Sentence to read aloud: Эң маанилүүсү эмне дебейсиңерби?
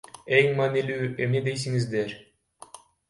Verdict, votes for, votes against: rejected, 0, 2